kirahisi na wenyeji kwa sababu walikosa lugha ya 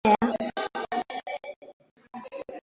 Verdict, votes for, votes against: rejected, 0, 2